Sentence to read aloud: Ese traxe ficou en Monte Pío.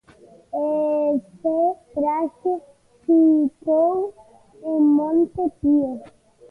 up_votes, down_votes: 0, 2